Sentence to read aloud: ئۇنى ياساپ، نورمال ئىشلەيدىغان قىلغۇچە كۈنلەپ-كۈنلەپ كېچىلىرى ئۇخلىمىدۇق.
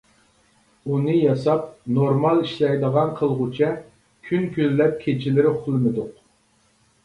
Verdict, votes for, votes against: rejected, 1, 2